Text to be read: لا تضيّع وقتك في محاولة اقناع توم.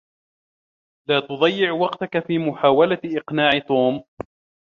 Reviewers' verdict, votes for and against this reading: accepted, 2, 0